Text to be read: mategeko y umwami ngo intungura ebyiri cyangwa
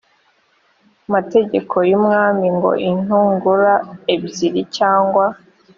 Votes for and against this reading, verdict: 3, 0, accepted